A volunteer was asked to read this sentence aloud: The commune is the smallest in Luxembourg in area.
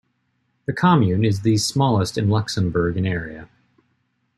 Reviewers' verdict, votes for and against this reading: accepted, 2, 0